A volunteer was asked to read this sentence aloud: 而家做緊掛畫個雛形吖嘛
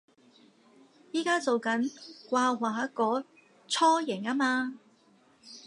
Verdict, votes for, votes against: rejected, 0, 2